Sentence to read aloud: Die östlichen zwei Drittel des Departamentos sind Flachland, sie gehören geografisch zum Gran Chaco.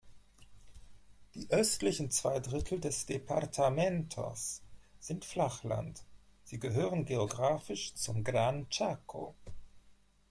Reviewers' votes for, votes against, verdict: 2, 0, accepted